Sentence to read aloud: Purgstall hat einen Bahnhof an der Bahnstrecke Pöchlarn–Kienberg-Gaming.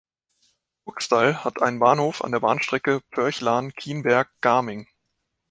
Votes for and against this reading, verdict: 1, 2, rejected